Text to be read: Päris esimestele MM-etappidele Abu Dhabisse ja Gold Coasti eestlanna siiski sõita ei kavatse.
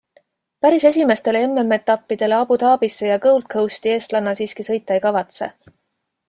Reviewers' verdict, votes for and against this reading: accepted, 2, 0